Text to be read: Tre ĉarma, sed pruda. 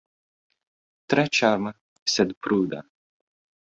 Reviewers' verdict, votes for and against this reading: accepted, 2, 0